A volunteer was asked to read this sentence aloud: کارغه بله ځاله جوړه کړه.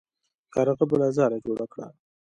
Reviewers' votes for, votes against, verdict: 1, 2, rejected